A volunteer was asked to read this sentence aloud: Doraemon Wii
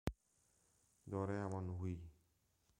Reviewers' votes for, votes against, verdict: 0, 2, rejected